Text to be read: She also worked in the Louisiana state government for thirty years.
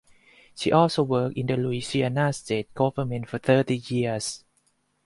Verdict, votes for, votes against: accepted, 4, 0